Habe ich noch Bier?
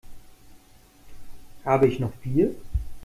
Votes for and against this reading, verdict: 2, 0, accepted